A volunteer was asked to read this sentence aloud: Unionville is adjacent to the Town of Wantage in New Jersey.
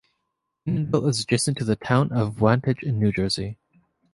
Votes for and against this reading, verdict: 1, 2, rejected